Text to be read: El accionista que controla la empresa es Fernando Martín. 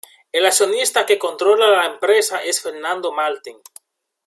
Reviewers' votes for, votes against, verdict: 1, 2, rejected